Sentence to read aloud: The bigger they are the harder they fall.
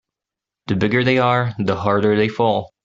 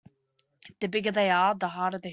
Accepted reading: first